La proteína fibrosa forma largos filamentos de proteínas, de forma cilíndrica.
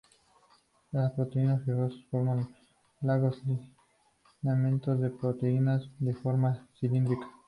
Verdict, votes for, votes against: accepted, 2, 0